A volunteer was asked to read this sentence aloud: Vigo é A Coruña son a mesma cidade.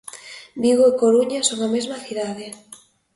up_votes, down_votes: 0, 2